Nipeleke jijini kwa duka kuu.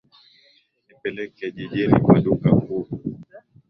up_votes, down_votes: 7, 3